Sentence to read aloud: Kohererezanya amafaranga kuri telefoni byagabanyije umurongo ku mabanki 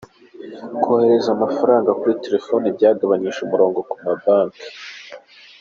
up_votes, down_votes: 1, 2